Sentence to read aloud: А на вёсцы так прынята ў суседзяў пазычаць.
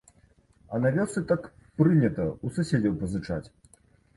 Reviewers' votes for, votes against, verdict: 2, 1, accepted